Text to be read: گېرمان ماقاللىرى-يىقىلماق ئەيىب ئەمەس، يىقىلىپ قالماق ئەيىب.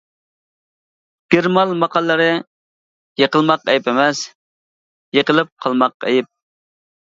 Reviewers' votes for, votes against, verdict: 2, 1, accepted